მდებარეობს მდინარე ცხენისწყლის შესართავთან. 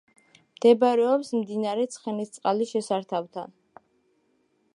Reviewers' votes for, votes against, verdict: 2, 0, accepted